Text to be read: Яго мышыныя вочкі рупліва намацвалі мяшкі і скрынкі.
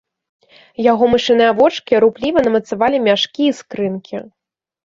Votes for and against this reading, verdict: 1, 2, rejected